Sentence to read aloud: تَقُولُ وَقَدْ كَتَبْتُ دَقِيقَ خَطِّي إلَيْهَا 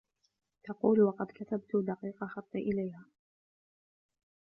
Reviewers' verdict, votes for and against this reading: rejected, 1, 2